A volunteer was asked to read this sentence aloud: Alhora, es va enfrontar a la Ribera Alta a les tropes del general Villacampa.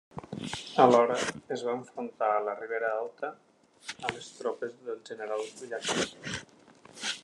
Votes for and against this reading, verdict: 1, 2, rejected